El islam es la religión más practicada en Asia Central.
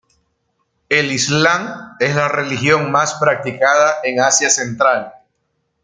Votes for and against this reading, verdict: 2, 0, accepted